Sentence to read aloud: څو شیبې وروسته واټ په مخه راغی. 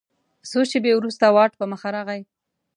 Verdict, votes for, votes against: accepted, 2, 0